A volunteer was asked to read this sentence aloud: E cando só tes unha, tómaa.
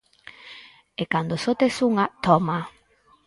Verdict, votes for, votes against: accepted, 6, 0